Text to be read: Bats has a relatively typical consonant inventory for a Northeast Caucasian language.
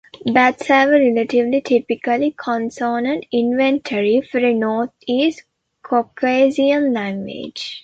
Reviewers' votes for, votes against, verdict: 0, 2, rejected